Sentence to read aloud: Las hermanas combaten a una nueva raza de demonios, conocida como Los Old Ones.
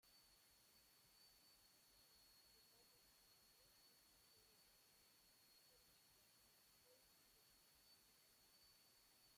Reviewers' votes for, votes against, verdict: 0, 2, rejected